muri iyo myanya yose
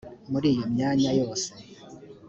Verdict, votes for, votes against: accepted, 2, 0